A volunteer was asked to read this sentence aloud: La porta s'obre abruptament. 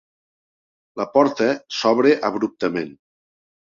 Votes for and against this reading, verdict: 2, 0, accepted